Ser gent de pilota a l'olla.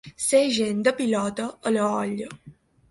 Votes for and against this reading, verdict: 3, 1, accepted